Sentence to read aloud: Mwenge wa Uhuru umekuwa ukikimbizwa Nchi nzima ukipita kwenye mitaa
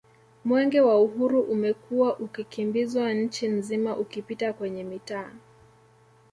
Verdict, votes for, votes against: accepted, 2, 0